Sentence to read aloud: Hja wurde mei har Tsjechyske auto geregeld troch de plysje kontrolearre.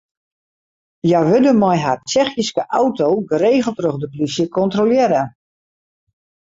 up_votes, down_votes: 2, 0